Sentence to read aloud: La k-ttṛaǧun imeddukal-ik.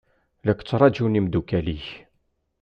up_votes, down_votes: 2, 0